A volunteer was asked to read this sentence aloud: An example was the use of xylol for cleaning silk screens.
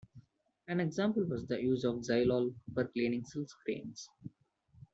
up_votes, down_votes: 1, 2